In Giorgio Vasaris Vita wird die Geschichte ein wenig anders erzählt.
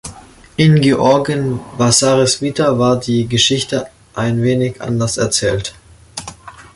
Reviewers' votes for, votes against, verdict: 0, 2, rejected